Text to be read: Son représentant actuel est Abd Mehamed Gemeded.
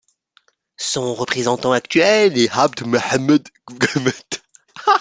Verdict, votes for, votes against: rejected, 0, 2